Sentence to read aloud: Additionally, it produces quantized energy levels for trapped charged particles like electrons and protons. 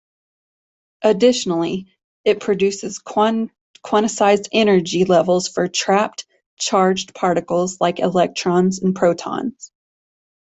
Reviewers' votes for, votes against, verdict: 0, 2, rejected